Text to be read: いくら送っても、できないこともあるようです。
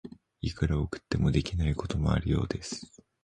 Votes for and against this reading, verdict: 0, 2, rejected